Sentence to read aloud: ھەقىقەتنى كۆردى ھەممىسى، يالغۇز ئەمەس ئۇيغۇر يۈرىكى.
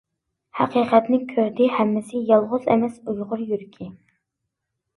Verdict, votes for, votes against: accepted, 2, 0